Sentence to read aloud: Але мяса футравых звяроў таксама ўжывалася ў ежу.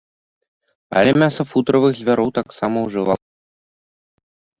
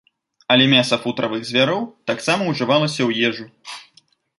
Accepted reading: second